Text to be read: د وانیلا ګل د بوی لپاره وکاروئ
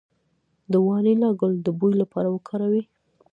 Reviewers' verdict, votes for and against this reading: rejected, 0, 2